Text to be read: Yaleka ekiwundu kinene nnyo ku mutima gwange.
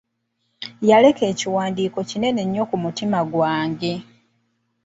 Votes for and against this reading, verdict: 1, 2, rejected